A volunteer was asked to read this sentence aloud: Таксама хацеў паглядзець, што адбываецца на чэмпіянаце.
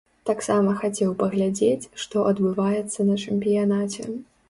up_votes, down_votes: 2, 0